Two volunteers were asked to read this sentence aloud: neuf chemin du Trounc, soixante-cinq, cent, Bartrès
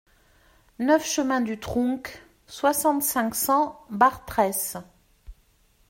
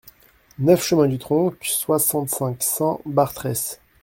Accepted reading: first